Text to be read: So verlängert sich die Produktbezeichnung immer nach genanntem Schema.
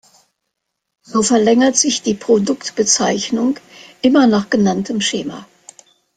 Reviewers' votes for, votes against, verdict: 2, 0, accepted